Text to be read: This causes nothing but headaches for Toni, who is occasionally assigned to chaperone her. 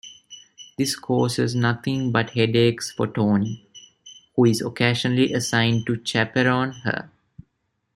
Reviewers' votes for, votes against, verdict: 2, 0, accepted